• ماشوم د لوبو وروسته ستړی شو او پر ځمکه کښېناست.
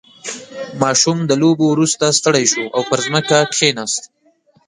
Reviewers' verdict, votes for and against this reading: rejected, 1, 2